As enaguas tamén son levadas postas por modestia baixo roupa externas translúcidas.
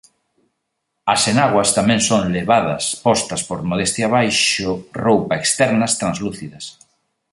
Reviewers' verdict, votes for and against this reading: accepted, 3, 0